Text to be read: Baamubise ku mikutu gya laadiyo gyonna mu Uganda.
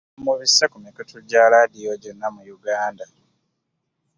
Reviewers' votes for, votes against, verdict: 0, 2, rejected